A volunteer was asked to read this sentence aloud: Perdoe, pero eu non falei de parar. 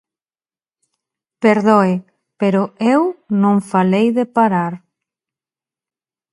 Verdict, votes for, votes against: accepted, 2, 0